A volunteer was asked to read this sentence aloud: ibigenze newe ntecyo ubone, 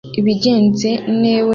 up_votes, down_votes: 0, 2